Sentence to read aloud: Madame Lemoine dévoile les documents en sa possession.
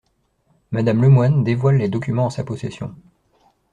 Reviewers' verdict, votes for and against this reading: accepted, 2, 1